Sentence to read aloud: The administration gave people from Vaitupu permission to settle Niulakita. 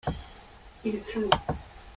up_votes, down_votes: 0, 2